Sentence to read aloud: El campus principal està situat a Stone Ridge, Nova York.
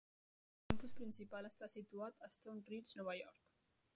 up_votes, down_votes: 0, 2